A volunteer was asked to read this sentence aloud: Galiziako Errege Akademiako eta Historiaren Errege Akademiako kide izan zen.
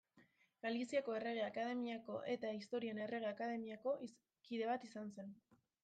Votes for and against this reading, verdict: 0, 2, rejected